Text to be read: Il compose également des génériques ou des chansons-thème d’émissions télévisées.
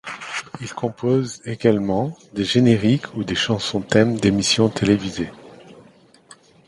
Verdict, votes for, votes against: accepted, 2, 0